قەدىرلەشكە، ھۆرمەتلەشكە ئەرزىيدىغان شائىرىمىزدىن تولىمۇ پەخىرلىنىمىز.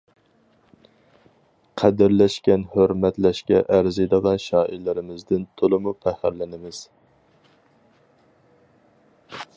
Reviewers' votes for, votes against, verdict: 0, 4, rejected